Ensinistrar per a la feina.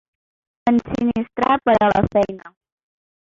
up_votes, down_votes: 0, 2